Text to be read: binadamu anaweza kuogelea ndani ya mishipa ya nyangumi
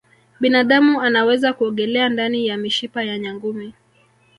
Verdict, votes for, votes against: accepted, 5, 1